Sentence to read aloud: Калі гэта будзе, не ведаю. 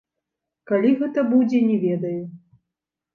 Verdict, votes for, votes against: accepted, 2, 0